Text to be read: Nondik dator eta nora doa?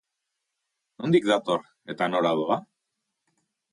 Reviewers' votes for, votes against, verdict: 2, 0, accepted